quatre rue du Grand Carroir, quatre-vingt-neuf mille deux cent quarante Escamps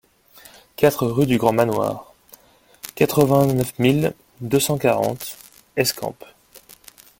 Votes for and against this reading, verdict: 0, 3, rejected